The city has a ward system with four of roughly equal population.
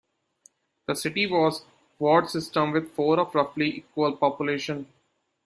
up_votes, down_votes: 0, 2